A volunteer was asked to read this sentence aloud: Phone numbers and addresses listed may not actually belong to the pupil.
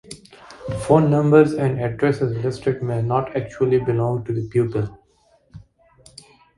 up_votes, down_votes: 2, 0